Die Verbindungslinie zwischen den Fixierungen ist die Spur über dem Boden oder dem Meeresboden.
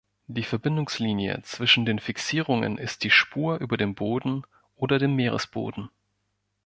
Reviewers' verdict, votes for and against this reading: accepted, 2, 0